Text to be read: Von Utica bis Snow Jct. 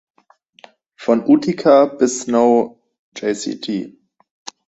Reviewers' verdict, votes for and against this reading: rejected, 0, 2